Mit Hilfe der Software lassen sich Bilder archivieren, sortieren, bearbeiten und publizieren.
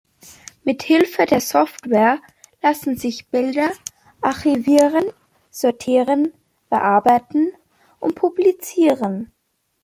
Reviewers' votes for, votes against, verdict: 2, 0, accepted